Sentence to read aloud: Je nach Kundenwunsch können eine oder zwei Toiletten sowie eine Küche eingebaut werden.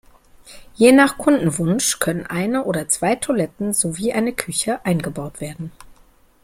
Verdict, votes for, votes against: accepted, 2, 0